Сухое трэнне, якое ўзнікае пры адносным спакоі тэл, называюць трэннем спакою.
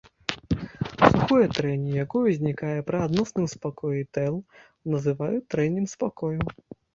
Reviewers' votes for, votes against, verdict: 0, 2, rejected